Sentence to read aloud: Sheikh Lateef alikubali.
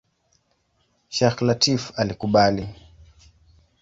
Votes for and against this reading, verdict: 2, 1, accepted